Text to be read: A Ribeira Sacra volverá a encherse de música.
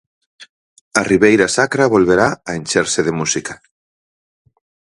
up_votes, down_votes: 4, 0